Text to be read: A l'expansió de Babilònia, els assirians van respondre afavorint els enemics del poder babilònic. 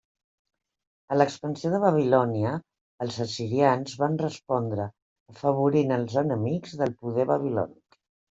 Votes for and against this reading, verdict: 1, 2, rejected